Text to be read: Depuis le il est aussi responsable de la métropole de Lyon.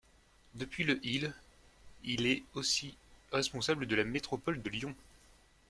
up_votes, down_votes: 1, 2